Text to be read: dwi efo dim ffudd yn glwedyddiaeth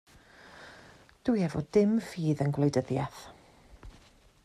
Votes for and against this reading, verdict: 0, 2, rejected